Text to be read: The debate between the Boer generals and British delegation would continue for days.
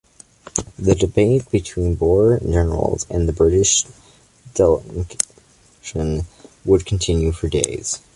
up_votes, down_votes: 2, 1